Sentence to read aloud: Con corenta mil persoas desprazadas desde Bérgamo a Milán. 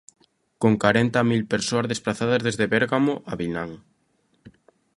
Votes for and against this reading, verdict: 0, 2, rejected